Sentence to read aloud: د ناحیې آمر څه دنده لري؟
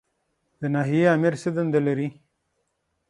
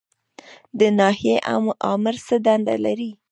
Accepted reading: first